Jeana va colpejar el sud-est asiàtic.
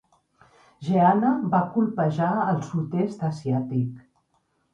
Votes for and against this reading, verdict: 0, 2, rejected